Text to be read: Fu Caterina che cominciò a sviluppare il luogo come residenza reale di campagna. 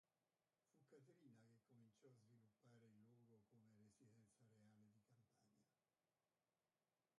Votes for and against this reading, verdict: 0, 2, rejected